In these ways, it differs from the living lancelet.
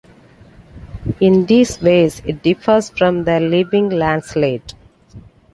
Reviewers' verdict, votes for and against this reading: accepted, 2, 0